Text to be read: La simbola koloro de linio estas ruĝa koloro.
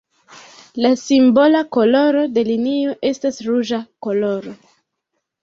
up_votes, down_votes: 2, 0